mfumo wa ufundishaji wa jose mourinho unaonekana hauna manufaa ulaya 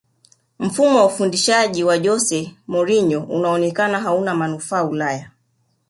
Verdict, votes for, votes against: accepted, 3, 0